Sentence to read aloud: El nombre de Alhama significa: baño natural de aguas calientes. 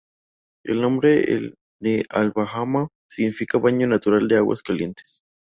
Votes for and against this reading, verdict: 0, 2, rejected